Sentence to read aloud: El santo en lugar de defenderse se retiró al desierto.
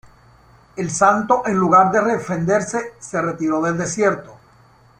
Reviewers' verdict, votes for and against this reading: rejected, 2, 3